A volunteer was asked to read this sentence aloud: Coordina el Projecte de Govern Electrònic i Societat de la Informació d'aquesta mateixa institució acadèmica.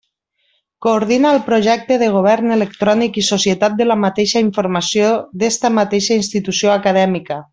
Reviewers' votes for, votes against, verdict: 0, 2, rejected